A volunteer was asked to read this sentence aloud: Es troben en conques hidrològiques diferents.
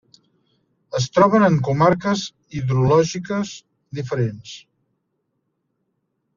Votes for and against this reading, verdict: 1, 2, rejected